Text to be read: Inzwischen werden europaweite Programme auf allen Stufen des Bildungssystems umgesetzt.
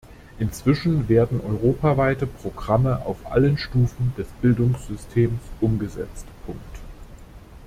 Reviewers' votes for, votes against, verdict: 0, 2, rejected